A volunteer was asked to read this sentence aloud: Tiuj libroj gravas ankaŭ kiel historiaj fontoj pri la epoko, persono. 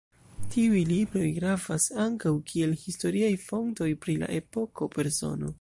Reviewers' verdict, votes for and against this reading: accepted, 2, 0